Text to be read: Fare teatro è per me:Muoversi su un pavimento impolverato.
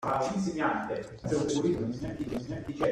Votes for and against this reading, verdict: 0, 2, rejected